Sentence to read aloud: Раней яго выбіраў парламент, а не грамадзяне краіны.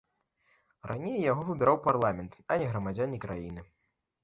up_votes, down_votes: 2, 0